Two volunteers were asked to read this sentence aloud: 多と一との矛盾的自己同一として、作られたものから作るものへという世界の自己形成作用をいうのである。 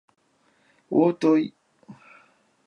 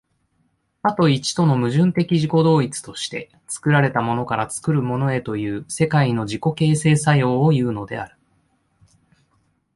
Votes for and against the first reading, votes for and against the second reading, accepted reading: 4, 9, 2, 0, second